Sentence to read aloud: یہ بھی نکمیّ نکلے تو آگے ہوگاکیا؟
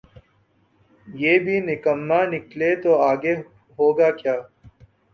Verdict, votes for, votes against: rejected, 2, 3